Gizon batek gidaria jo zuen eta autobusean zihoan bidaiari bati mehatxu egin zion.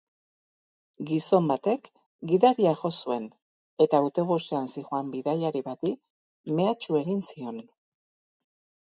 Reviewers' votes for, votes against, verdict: 4, 0, accepted